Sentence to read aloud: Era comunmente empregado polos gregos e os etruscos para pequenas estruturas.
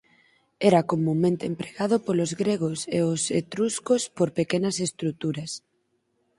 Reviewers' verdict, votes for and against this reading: rejected, 0, 4